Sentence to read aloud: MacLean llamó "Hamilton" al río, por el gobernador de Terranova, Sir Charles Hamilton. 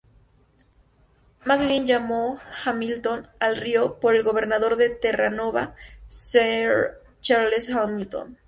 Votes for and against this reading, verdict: 2, 0, accepted